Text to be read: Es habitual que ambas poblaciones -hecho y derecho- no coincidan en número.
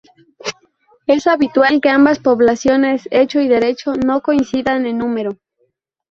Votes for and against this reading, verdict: 2, 0, accepted